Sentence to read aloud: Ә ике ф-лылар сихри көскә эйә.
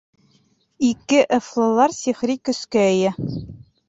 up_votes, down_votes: 0, 2